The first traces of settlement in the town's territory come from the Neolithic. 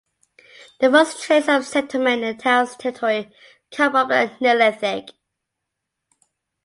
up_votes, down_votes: 0, 2